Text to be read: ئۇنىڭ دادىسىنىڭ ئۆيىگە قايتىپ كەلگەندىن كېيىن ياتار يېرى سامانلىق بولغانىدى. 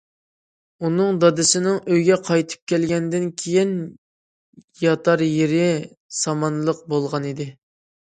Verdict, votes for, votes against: accepted, 2, 0